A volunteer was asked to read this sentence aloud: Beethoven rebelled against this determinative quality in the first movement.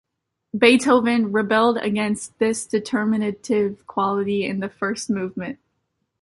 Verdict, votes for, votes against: accepted, 2, 0